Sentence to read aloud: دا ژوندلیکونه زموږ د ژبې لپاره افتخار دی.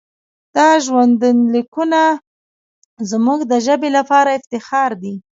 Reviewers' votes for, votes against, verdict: 2, 0, accepted